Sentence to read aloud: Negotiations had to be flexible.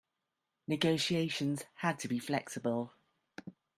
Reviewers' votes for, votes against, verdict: 2, 0, accepted